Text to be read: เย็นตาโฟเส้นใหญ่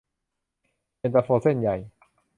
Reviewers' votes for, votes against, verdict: 0, 2, rejected